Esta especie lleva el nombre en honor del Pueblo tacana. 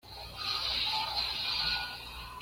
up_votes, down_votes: 1, 2